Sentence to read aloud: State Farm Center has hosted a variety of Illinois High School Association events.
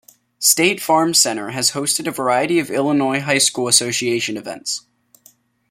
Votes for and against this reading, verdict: 2, 0, accepted